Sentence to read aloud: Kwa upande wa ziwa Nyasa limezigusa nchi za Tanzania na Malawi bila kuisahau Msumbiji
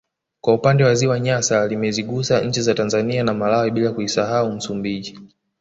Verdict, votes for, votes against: rejected, 1, 2